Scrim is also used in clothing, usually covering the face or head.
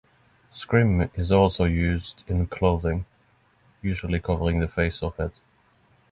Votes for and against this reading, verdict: 6, 0, accepted